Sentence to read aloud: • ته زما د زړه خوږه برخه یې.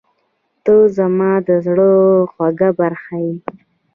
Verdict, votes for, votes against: accepted, 2, 1